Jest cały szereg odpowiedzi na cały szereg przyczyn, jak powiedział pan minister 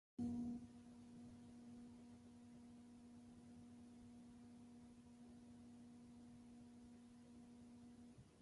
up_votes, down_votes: 0, 2